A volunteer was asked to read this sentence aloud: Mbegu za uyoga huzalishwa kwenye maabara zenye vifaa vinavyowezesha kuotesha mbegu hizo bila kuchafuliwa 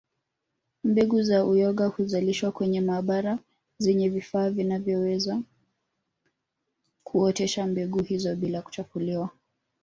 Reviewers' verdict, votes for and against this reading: rejected, 1, 2